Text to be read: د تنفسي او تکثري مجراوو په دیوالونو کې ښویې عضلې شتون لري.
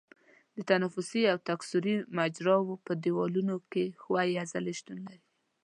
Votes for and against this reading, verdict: 1, 2, rejected